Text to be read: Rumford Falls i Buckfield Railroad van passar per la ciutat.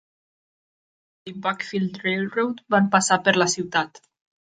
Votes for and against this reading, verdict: 0, 2, rejected